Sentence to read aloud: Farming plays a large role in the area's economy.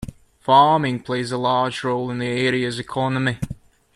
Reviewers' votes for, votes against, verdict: 2, 1, accepted